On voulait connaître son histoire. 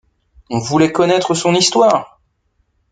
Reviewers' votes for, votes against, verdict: 2, 1, accepted